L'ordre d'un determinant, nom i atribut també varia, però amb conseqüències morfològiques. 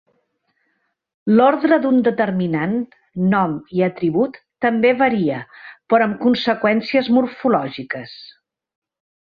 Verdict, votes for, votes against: accepted, 3, 0